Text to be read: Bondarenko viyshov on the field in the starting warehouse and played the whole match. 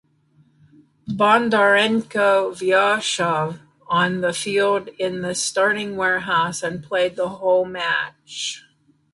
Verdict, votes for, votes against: rejected, 1, 2